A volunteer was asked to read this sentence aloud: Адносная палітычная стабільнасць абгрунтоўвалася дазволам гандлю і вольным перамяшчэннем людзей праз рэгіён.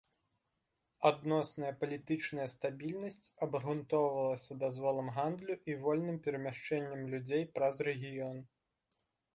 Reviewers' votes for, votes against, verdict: 2, 0, accepted